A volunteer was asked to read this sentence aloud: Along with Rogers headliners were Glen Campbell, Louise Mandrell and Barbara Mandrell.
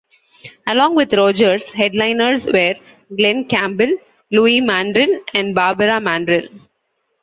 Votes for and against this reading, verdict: 2, 3, rejected